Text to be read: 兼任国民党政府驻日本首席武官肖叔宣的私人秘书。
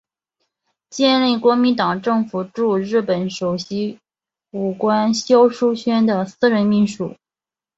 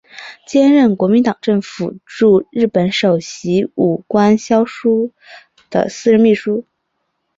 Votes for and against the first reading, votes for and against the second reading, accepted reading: 2, 0, 0, 2, first